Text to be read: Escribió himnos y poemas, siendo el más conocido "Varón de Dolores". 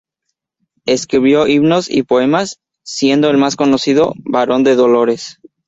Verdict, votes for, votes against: rejected, 0, 2